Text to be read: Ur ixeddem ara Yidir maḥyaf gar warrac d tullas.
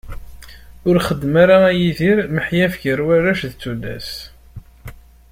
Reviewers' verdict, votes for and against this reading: rejected, 0, 2